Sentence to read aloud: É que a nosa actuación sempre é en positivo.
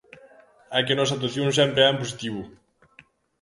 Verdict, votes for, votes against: rejected, 1, 2